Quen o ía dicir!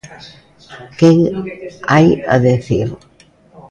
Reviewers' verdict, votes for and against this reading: rejected, 0, 2